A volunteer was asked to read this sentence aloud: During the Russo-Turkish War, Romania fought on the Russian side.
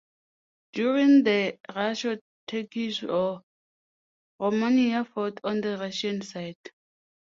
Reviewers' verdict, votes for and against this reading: accepted, 2, 1